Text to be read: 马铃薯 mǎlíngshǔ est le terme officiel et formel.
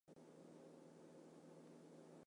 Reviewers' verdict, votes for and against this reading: rejected, 0, 2